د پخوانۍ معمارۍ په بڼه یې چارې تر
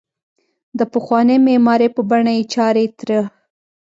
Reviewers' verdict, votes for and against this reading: accepted, 2, 0